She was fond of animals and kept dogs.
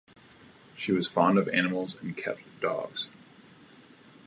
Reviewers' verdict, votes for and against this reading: accepted, 2, 0